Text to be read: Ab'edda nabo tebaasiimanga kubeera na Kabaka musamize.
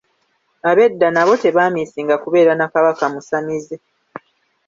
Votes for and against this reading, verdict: 0, 2, rejected